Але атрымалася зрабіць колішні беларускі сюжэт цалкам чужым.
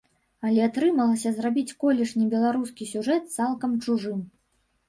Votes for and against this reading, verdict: 1, 2, rejected